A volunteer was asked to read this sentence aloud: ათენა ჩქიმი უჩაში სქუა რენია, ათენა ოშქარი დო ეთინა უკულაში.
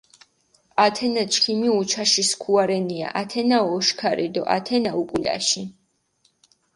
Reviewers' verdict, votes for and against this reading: rejected, 0, 4